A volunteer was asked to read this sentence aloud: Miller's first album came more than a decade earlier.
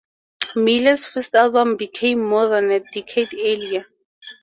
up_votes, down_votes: 2, 0